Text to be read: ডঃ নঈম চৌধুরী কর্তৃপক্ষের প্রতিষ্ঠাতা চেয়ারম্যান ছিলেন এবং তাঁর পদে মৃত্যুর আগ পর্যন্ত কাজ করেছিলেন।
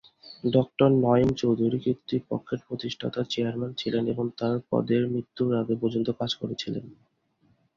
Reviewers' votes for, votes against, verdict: 0, 2, rejected